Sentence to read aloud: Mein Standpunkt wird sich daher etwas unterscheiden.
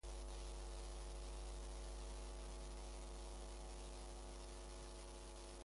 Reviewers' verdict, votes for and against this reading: rejected, 0, 2